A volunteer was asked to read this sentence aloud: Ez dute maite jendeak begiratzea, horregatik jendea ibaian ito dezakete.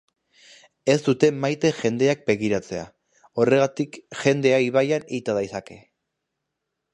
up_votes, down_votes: 1, 2